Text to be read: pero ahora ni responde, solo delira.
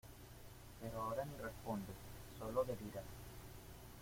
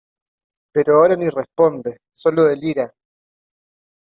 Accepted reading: second